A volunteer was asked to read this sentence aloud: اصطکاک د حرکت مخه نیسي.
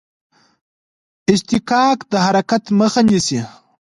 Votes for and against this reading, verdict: 0, 2, rejected